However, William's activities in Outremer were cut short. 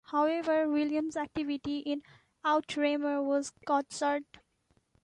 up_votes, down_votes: 1, 3